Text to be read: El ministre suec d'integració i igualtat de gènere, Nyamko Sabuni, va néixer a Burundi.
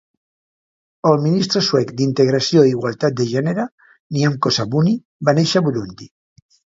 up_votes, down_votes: 2, 0